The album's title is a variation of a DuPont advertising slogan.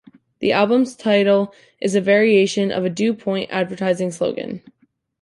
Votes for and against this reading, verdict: 1, 2, rejected